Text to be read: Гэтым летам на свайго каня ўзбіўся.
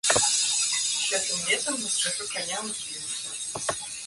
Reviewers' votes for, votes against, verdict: 1, 2, rejected